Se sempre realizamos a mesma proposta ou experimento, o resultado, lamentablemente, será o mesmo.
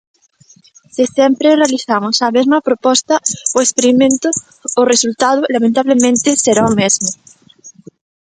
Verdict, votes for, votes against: rejected, 1, 2